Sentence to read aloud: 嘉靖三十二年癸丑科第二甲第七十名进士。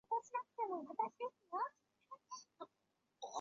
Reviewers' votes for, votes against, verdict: 0, 2, rejected